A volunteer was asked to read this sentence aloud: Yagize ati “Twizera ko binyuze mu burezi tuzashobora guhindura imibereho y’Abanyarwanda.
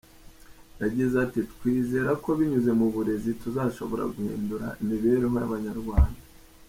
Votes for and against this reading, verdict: 2, 0, accepted